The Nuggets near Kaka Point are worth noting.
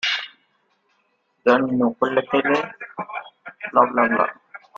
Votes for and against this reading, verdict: 0, 2, rejected